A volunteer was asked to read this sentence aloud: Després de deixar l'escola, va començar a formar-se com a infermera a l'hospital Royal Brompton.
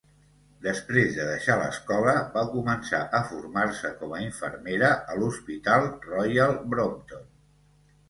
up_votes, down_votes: 2, 1